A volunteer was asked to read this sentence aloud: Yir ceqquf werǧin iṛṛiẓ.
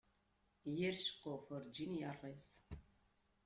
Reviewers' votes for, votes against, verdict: 2, 0, accepted